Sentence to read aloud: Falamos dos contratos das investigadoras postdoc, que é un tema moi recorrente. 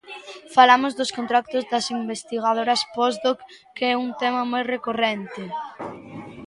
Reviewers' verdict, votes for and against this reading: accepted, 2, 0